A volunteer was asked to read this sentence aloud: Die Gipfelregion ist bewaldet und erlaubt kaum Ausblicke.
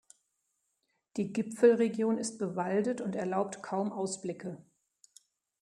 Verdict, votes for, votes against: accepted, 2, 0